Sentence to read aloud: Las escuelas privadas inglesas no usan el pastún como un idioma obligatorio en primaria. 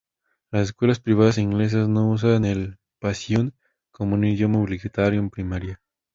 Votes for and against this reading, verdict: 0, 2, rejected